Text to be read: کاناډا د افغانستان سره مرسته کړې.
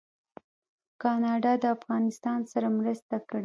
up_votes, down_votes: 0, 2